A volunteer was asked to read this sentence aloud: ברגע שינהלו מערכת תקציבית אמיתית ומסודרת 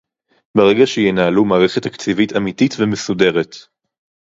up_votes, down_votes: 4, 0